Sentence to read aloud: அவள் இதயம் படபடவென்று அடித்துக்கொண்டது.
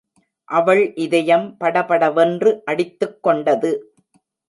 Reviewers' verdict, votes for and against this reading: accepted, 2, 0